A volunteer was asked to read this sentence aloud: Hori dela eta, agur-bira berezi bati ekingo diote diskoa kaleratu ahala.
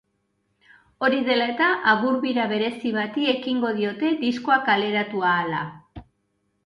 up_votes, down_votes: 2, 0